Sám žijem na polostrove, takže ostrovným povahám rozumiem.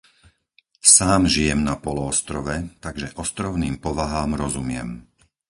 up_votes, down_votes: 0, 4